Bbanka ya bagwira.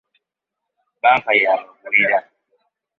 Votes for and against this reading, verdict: 1, 2, rejected